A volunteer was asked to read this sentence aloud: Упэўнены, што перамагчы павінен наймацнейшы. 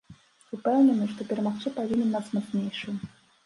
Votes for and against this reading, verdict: 0, 2, rejected